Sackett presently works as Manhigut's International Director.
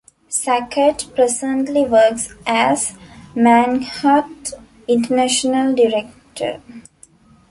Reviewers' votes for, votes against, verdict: 0, 2, rejected